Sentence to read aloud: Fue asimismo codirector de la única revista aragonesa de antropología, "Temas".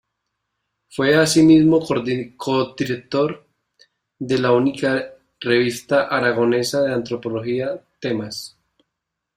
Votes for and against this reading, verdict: 0, 2, rejected